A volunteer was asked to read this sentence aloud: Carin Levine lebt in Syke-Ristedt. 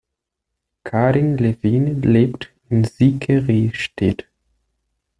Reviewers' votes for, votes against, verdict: 2, 0, accepted